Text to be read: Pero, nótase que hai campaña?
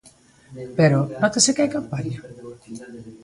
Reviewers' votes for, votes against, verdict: 2, 1, accepted